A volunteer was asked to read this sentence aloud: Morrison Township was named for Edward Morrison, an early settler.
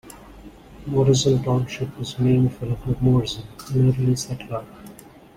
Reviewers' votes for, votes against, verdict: 1, 2, rejected